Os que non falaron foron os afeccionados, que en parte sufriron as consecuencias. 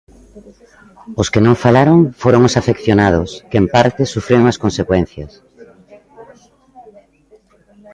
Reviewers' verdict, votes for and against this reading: accepted, 2, 0